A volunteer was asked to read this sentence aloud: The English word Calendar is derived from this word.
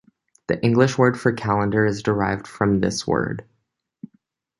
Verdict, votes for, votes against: rejected, 0, 2